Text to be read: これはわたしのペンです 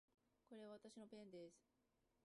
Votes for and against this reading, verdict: 0, 2, rejected